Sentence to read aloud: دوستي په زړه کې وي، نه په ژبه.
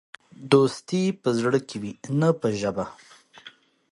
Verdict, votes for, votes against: accepted, 2, 0